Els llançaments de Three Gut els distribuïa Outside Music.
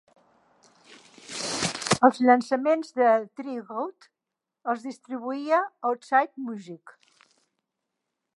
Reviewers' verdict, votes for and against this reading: rejected, 1, 2